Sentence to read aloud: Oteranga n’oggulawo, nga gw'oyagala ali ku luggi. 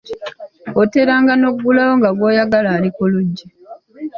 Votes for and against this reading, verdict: 2, 1, accepted